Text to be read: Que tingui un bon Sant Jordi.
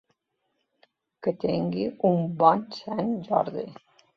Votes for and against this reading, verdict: 2, 0, accepted